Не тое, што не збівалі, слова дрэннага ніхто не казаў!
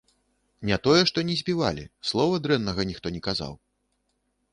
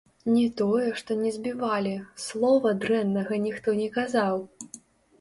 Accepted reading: first